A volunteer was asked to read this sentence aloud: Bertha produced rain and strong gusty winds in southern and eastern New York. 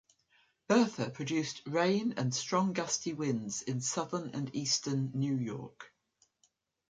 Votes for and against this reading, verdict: 2, 0, accepted